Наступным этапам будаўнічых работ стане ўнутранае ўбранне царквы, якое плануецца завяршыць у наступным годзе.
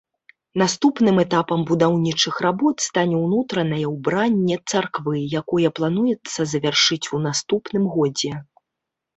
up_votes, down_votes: 2, 0